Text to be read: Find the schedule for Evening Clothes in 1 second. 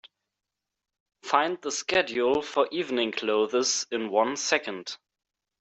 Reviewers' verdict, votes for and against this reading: rejected, 0, 2